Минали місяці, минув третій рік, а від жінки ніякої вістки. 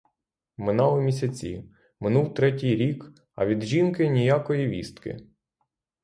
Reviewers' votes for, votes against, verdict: 6, 0, accepted